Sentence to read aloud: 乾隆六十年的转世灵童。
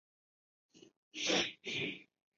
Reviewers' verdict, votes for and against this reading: rejected, 0, 3